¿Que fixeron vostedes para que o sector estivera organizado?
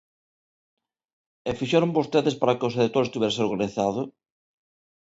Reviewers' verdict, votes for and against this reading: rejected, 0, 2